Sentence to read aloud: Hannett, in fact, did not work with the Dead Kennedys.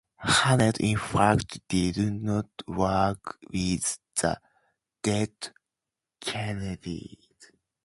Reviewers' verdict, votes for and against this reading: rejected, 2, 2